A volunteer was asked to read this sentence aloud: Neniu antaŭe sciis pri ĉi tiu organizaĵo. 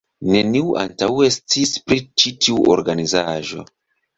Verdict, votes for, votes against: rejected, 0, 2